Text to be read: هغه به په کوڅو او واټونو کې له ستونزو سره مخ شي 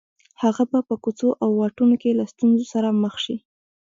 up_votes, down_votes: 1, 2